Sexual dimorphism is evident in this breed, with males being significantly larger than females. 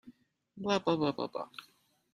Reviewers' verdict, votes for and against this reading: rejected, 0, 2